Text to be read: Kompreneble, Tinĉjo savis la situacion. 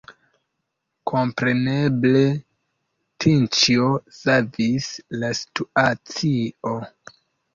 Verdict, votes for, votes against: accepted, 2, 0